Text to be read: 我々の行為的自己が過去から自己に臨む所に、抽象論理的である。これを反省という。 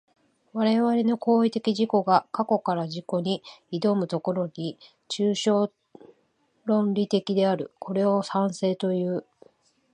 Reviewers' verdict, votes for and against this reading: rejected, 1, 3